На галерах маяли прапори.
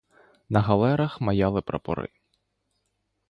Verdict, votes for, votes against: accepted, 2, 0